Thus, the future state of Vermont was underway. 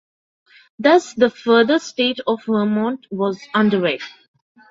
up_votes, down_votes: 0, 2